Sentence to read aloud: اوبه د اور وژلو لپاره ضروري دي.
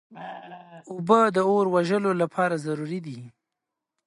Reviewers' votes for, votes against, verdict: 2, 0, accepted